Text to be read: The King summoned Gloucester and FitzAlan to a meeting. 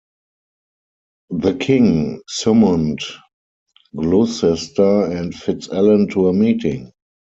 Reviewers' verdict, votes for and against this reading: rejected, 2, 4